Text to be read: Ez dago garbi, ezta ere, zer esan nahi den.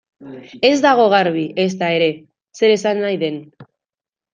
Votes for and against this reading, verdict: 1, 2, rejected